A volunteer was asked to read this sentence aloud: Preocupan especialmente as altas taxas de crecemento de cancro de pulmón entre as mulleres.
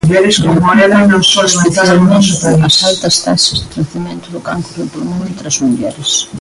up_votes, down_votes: 0, 2